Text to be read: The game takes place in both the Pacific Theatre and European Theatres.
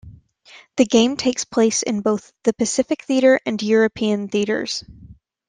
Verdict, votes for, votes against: accepted, 2, 0